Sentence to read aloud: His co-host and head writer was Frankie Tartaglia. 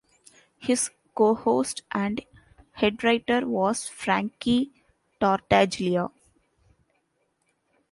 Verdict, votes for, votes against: rejected, 0, 2